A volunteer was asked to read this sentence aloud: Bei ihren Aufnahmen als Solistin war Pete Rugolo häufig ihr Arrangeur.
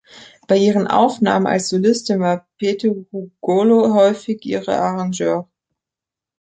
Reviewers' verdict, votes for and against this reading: rejected, 0, 3